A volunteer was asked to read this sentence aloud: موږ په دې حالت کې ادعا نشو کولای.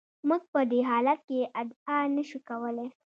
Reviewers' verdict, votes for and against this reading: accepted, 2, 0